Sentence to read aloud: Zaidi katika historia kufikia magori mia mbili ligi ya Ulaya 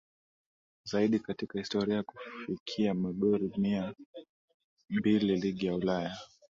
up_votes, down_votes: 2, 0